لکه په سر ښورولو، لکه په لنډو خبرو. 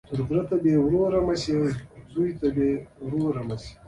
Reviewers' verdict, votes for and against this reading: rejected, 0, 2